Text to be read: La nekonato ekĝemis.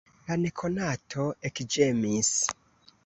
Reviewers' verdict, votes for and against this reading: rejected, 1, 2